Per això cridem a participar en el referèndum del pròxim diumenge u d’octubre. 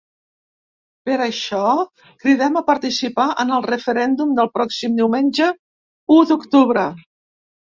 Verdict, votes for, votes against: accepted, 3, 1